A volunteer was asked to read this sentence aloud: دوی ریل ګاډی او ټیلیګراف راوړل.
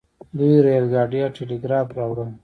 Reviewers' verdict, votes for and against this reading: accepted, 2, 0